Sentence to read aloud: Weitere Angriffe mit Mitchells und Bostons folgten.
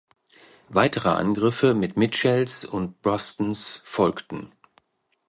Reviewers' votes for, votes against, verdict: 0, 2, rejected